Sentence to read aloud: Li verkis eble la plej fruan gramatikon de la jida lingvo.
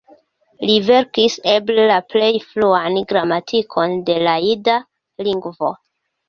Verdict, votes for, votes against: accepted, 2, 1